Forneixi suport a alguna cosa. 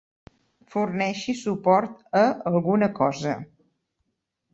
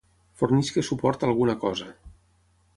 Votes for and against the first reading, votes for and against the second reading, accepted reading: 3, 0, 0, 6, first